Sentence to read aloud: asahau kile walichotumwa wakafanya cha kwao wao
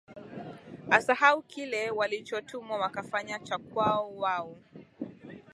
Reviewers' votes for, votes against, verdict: 3, 0, accepted